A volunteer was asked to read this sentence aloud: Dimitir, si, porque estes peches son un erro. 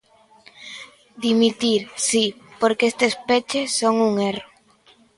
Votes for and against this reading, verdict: 2, 0, accepted